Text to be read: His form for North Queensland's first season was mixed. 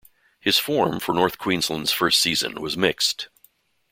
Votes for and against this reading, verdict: 2, 0, accepted